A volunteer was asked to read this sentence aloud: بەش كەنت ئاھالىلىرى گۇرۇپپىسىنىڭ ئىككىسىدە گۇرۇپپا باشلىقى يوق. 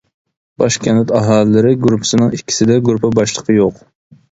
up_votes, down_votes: 0, 2